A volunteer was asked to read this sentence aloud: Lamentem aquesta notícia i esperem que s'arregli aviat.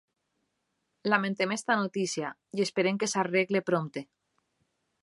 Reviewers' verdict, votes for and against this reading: rejected, 0, 2